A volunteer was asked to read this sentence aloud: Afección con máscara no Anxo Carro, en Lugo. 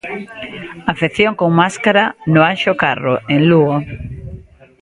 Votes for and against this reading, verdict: 3, 0, accepted